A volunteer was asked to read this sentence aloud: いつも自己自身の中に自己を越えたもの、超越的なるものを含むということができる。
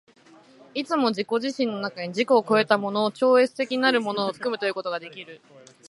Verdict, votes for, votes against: accepted, 2, 0